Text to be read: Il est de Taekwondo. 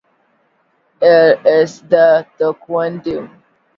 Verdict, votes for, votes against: rejected, 1, 2